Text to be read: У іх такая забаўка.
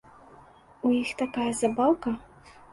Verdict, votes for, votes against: rejected, 1, 2